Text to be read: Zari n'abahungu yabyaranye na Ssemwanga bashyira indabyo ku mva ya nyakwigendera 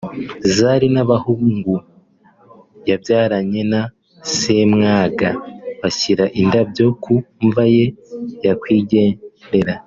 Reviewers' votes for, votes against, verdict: 2, 0, accepted